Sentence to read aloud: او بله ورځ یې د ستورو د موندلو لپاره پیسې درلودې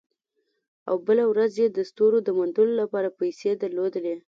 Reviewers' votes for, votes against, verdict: 2, 0, accepted